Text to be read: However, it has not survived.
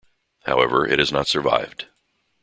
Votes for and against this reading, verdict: 2, 0, accepted